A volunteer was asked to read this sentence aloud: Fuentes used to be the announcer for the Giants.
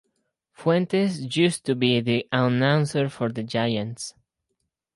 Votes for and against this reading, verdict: 2, 4, rejected